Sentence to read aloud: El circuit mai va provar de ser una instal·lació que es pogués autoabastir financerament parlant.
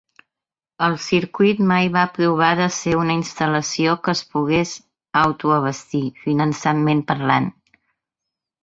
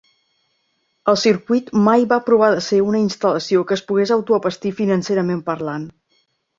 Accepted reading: second